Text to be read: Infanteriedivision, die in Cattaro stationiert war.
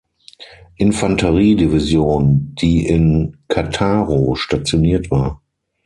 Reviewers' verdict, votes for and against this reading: accepted, 6, 0